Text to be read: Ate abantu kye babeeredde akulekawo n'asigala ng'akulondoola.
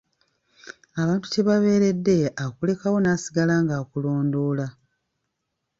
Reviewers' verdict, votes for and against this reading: rejected, 2, 3